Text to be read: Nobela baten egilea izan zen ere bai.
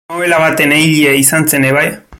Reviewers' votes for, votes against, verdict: 0, 2, rejected